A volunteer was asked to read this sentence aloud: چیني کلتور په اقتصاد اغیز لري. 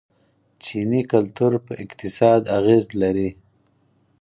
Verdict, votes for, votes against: accepted, 4, 0